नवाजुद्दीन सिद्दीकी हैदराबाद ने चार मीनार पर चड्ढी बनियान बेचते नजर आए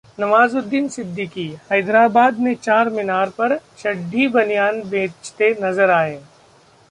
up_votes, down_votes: 2, 0